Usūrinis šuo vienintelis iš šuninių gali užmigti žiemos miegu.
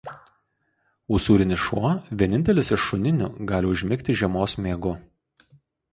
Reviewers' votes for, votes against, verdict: 2, 2, rejected